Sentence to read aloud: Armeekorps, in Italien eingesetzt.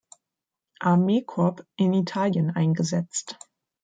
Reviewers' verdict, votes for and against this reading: rejected, 1, 2